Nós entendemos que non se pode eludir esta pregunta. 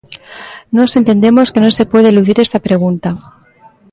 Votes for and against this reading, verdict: 2, 0, accepted